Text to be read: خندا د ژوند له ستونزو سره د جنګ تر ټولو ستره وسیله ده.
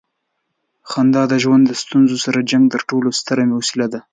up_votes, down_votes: 2, 1